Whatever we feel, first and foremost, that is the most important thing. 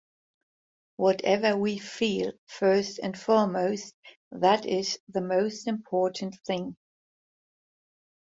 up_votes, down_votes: 2, 0